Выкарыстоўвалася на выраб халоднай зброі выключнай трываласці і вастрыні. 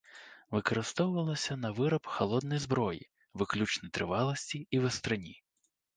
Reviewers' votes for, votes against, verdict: 2, 0, accepted